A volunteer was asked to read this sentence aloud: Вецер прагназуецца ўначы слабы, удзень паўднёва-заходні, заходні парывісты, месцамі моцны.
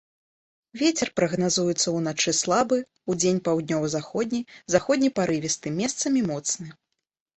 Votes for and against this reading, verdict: 2, 0, accepted